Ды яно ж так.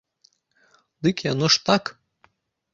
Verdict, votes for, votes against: rejected, 1, 2